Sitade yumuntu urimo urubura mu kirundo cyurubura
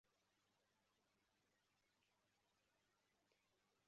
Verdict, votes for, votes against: rejected, 0, 2